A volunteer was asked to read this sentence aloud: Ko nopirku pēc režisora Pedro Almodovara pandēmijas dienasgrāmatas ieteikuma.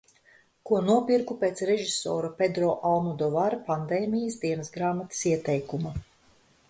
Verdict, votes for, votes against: accepted, 2, 0